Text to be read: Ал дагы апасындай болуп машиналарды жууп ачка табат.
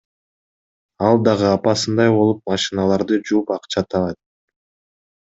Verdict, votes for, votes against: rejected, 0, 2